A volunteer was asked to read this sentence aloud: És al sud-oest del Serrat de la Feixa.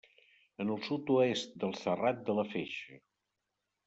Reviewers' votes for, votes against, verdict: 0, 2, rejected